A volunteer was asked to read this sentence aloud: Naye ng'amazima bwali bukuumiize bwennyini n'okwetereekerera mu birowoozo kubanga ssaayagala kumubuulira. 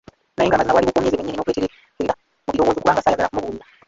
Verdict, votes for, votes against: rejected, 1, 2